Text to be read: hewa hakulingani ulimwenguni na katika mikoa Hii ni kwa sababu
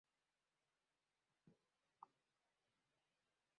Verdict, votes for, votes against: rejected, 1, 12